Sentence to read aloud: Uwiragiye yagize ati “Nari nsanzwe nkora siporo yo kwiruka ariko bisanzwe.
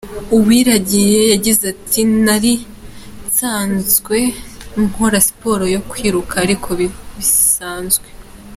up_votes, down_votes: 2, 0